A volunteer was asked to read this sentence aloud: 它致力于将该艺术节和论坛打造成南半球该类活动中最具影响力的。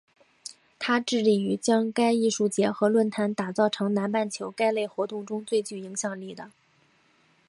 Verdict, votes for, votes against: accepted, 3, 1